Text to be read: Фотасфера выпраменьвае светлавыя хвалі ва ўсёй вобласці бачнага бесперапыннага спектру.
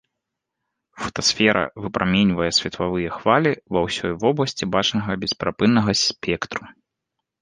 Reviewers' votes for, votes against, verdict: 1, 2, rejected